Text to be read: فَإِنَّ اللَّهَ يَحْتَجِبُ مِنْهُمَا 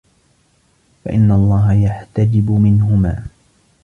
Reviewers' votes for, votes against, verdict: 2, 0, accepted